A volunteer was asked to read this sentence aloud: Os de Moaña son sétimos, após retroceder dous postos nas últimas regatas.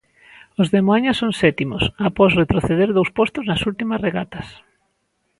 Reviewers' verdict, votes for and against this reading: accepted, 2, 0